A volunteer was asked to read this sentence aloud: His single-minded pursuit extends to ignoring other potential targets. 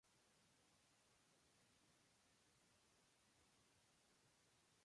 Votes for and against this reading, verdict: 0, 2, rejected